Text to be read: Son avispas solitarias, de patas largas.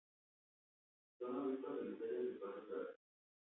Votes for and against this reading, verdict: 0, 2, rejected